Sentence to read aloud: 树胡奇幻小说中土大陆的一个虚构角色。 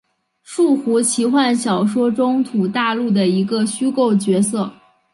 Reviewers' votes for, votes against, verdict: 0, 2, rejected